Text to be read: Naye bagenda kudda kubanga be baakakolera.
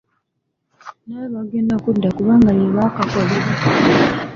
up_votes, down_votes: 1, 2